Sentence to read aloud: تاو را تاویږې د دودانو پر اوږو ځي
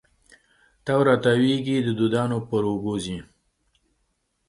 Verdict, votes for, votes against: accepted, 2, 0